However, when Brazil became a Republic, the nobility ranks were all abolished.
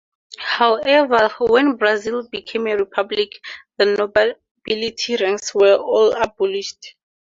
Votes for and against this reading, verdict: 4, 0, accepted